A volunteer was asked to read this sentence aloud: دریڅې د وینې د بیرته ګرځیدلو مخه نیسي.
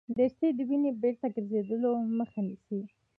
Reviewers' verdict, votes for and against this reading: rejected, 1, 2